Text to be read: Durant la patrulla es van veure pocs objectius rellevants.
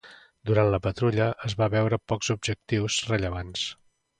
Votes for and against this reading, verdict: 0, 2, rejected